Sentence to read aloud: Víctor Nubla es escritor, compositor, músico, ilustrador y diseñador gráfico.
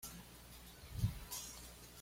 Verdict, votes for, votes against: rejected, 1, 2